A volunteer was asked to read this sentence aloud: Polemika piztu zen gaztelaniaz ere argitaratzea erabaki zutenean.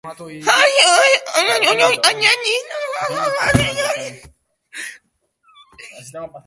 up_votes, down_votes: 0, 3